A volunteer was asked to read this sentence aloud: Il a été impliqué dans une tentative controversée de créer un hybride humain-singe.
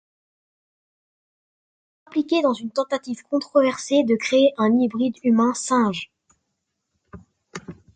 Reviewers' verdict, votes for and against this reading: rejected, 1, 2